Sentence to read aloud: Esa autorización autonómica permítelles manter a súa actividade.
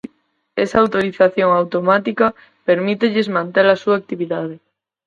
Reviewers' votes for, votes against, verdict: 0, 4, rejected